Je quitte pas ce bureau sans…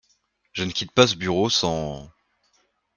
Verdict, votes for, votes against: rejected, 1, 2